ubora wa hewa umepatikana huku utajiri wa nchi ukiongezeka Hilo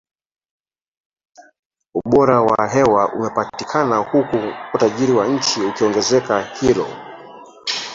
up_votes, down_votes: 0, 2